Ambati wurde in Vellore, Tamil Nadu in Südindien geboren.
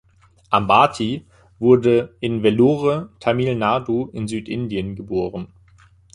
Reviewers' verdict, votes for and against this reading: accepted, 2, 0